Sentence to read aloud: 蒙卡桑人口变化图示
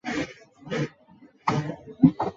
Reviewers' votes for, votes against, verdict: 0, 2, rejected